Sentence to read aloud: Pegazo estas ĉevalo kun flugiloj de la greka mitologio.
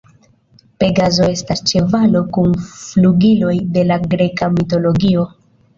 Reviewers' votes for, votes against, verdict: 2, 0, accepted